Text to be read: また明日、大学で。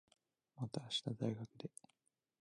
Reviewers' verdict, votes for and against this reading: rejected, 1, 2